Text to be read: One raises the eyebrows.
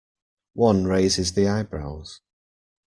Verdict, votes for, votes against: accepted, 2, 0